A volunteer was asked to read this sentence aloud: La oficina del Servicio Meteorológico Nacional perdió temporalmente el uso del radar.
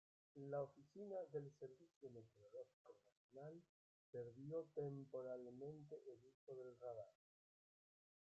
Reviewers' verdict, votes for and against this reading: rejected, 0, 2